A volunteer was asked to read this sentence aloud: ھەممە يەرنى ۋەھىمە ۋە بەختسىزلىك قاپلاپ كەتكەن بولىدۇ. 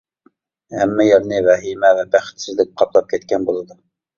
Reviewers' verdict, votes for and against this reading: accepted, 2, 0